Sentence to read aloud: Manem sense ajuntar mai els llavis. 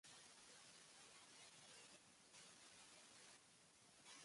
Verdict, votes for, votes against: rejected, 0, 2